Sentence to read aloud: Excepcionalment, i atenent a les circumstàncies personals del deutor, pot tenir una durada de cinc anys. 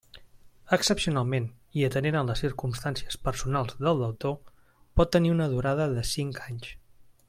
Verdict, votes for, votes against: accepted, 2, 0